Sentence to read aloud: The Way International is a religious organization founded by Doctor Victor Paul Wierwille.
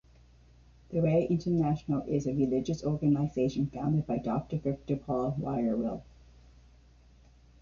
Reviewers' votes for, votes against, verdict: 2, 1, accepted